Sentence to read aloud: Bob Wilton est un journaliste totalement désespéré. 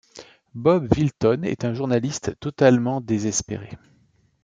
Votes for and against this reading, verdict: 2, 0, accepted